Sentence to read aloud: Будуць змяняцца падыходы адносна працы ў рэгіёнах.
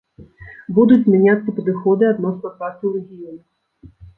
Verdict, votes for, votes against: rejected, 1, 2